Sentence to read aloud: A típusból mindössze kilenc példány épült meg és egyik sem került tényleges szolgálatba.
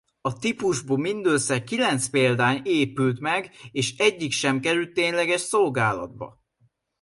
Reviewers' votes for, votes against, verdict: 1, 2, rejected